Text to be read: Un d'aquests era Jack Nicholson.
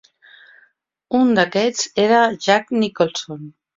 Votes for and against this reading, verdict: 3, 0, accepted